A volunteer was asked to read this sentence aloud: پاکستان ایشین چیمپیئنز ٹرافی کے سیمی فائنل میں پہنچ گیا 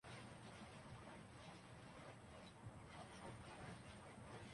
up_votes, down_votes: 0, 2